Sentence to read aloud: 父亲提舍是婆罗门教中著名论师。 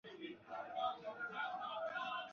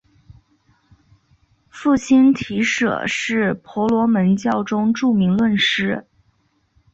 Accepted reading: second